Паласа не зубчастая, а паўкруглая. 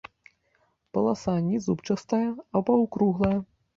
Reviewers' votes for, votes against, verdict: 1, 2, rejected